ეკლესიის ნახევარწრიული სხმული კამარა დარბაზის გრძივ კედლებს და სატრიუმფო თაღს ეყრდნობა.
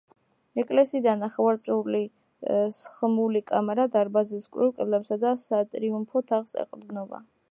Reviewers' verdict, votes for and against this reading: rejected, 0, 2